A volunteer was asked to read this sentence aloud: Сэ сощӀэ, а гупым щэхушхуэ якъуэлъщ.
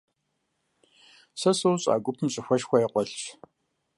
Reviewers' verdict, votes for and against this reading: rejected, 1, 2